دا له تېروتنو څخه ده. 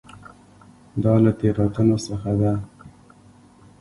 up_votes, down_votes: 2, 0